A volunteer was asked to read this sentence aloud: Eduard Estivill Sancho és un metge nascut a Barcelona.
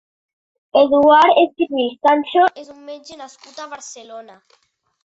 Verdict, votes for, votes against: accepted, 2, 0